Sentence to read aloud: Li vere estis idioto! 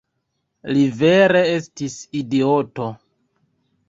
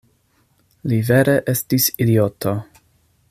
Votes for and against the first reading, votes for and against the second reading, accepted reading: 1, 2, 2, 0, second